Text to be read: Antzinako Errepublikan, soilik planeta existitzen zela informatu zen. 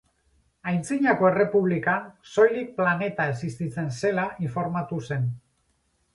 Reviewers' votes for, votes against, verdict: 2, 2, rejected